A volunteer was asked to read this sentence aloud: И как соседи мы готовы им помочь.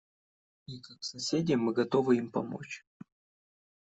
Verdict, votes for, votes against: rejected, 0, 2